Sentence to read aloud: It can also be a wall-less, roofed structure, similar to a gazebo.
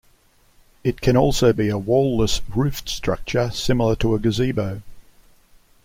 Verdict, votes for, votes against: accepted, 2, 0